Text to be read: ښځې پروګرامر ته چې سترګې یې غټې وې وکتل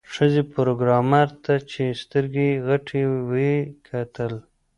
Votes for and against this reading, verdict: 2, 0, accepted